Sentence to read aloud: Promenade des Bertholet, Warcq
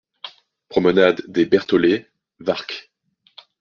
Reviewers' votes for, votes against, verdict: 2, 1, accepted